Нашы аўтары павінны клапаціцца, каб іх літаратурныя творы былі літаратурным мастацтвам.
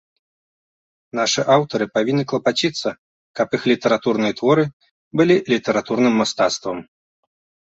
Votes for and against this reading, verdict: 2, 0, accepted